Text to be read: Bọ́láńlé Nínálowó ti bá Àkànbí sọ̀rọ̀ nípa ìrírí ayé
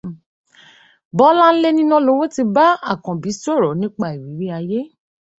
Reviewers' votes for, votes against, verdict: 2, 0, accepted